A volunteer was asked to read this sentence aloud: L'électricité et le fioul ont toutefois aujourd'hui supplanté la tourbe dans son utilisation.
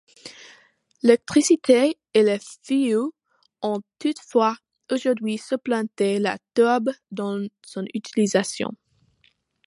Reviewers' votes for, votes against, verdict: 0, 2, rejected